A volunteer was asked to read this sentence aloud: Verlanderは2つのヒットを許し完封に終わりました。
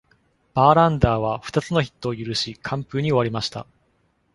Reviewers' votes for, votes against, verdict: 0, 2, rejected